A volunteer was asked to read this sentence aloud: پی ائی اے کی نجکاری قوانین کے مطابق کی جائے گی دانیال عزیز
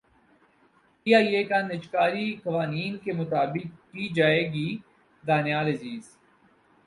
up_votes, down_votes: 6, 8